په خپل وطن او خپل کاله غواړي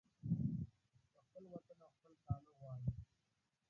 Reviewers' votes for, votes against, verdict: 0, 2, rejected